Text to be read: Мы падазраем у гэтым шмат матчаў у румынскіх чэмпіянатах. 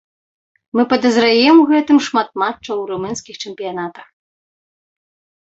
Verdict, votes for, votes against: accepted, 2, 0